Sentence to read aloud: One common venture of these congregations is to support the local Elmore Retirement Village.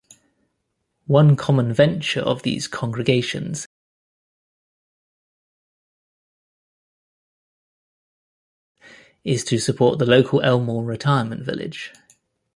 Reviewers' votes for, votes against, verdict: 1, 2, rejected